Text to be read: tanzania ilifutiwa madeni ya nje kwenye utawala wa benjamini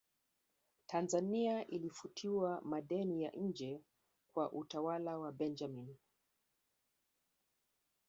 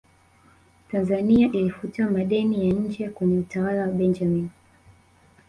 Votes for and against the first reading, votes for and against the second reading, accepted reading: 1, 2, 3, 1, second